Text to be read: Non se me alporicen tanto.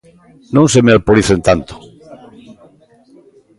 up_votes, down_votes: 2, 0